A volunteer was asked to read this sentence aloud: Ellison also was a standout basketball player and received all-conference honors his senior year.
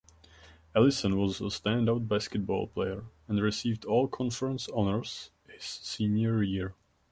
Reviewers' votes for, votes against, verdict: 1, 2, rejected